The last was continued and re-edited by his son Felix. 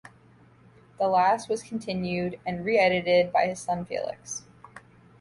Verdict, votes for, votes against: accepted, 2, 0